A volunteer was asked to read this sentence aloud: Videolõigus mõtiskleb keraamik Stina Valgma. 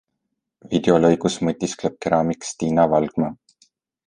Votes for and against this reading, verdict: 2, 0, accepted